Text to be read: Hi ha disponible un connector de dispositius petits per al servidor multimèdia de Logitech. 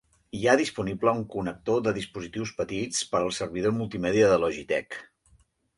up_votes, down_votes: 3, 0